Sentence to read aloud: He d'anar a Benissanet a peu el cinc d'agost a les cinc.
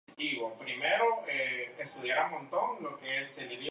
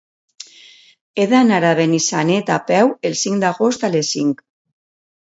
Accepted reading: second